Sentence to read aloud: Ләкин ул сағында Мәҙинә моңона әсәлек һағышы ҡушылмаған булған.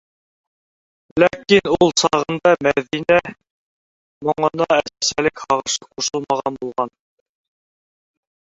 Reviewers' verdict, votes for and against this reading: rejected, 0, 2